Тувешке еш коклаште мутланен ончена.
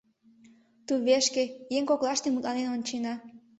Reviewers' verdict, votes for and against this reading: rejected, 0, 2